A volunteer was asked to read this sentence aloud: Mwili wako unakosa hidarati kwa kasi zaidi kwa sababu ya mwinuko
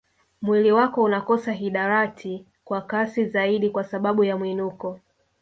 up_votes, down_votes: 2, 0